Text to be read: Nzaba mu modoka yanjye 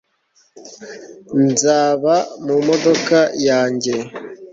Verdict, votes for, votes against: accepted, 2, 0